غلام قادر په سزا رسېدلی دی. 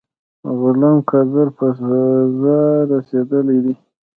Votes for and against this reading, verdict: 0, 2, rejected